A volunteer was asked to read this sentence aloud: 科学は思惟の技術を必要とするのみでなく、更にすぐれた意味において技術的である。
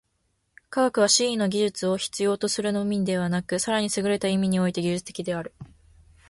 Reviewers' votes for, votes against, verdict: 2, 0, accepted